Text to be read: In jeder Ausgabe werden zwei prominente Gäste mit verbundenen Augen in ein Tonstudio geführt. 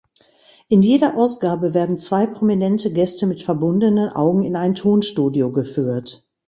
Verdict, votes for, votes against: accepted, 2, 0